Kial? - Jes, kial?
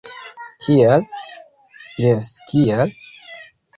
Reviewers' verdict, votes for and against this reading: rejected, 1, 2